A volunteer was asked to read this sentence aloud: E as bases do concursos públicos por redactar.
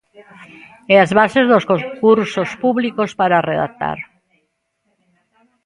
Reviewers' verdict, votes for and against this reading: rejected, 0, 2